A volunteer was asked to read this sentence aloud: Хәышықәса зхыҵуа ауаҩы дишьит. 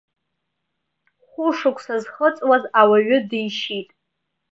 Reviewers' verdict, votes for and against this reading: rejected, 1, 2